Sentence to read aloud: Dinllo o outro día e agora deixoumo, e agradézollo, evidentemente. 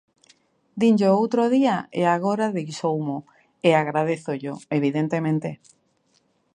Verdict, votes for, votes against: accepted, 2, 0